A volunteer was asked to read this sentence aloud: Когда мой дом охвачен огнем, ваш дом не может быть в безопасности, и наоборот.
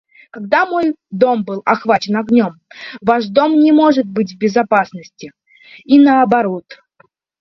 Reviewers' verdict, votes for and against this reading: rejected, 0, 2